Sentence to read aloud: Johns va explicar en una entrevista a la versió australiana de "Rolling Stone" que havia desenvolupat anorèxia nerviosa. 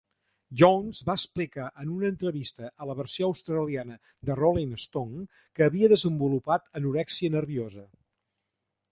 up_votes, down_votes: 2, 0